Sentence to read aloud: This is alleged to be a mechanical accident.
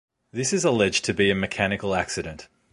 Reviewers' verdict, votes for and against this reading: accepted, 2, 0